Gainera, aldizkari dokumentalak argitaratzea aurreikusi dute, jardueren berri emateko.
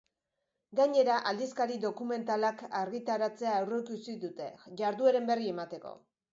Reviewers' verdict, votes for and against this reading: accepted, 3, 1